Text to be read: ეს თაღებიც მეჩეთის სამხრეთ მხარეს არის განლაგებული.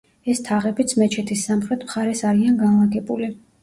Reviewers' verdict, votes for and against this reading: rejected, 0, 2